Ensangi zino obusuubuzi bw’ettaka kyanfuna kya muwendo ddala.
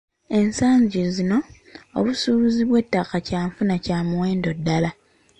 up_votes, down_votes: 2, 0